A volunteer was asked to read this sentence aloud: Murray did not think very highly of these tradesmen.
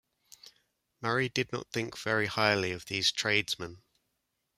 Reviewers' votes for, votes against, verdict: 2, 0, accepted